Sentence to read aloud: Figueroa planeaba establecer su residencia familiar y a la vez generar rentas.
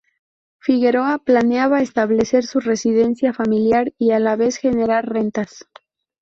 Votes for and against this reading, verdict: 4, 0, accepted